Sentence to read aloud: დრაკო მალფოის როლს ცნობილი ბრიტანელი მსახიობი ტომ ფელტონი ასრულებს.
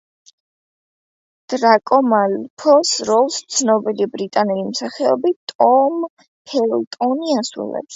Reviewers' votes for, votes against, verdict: 0, 2, rejected